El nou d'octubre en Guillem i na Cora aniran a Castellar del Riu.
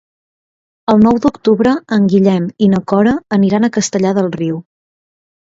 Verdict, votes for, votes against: accepted, 2, 0